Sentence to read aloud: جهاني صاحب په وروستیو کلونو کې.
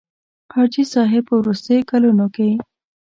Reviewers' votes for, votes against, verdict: 1, 2, rejected